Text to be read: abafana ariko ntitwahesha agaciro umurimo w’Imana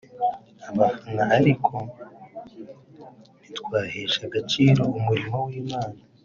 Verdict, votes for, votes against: accepted, 2, 1